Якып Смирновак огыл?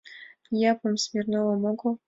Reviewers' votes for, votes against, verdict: 1, 2, rejected